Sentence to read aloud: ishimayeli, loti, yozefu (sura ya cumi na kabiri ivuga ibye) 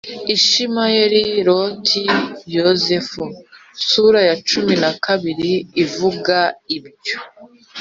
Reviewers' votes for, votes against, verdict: 3, 1, accepted